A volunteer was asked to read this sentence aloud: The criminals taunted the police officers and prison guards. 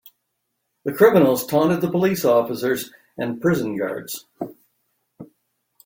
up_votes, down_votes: 2, 0